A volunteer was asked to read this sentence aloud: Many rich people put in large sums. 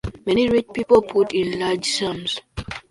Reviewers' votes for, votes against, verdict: 0, 2, rejected